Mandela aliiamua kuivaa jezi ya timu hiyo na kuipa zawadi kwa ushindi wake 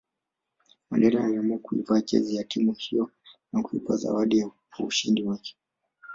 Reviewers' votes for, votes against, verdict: 2, 1, accepted